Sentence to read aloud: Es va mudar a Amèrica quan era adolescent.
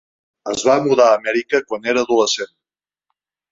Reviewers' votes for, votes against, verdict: 2, 0, accepted